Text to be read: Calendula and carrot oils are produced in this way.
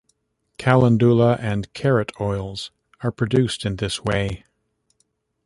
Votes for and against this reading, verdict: 1, 2, rejected